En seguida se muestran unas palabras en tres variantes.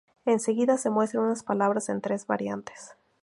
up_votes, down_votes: 2, 0